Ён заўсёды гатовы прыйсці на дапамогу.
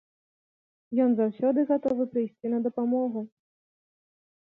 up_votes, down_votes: 0, 2